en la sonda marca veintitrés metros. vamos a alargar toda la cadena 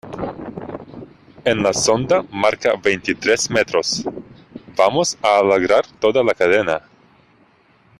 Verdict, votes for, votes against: rejected, 0, 2